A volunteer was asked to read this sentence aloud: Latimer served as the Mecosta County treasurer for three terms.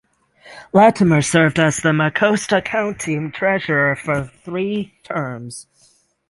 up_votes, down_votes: 6, 0